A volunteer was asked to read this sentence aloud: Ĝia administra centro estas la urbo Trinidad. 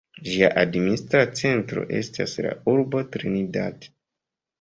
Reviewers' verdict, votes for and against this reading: accepted, 2, 0